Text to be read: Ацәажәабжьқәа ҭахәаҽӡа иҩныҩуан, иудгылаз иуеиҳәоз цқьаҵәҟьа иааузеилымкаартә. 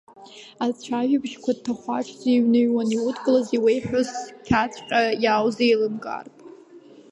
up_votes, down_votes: 5, 0